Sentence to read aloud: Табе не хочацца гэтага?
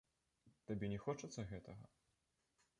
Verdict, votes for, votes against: accepted, 3, 2